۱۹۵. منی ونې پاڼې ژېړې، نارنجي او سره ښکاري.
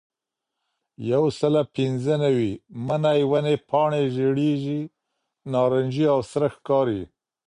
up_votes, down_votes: 0, 2